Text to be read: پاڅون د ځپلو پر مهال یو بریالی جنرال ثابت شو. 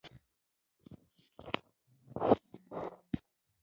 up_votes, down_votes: 0, 2